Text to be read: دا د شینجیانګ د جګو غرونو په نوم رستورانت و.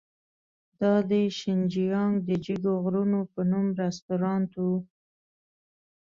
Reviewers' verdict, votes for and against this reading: accepted, 2, 0